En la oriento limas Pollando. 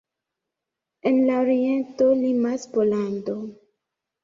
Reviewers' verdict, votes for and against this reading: accepted, 3, 0